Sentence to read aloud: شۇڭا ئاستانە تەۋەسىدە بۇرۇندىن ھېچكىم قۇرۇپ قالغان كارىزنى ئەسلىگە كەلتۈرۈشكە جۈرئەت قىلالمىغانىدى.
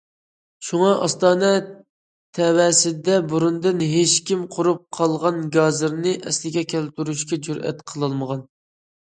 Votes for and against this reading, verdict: 0, 2, rejected